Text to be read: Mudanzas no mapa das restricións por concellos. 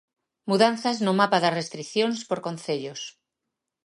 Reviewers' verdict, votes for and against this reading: accepted, 2, 0